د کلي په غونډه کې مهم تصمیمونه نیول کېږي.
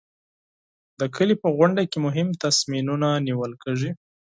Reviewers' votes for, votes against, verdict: 0, 4, rejected